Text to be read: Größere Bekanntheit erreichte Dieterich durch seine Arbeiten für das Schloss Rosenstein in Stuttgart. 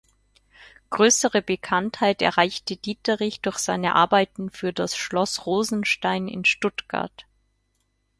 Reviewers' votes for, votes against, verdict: 4, 0, accepted